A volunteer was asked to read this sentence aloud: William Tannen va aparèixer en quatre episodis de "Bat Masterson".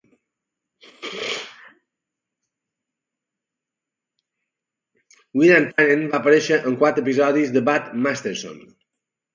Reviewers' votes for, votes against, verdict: 0, 2, rejected